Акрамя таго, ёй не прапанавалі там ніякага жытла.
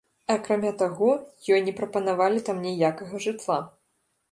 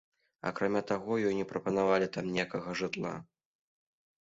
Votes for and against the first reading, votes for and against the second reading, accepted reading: 0, 2, 2, 0, second